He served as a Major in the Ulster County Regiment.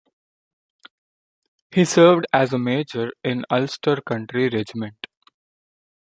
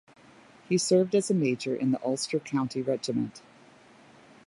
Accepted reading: second